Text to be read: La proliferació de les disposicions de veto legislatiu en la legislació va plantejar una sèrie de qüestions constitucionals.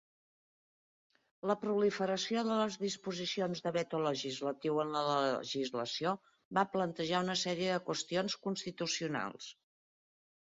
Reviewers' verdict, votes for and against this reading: rejected, 1, 2